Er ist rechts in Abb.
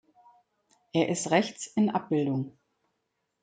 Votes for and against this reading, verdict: 1, 2, rejected